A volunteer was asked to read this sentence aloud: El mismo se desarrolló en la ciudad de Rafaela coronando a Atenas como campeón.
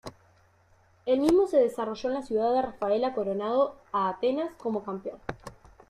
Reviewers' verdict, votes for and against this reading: rejected, 0, 2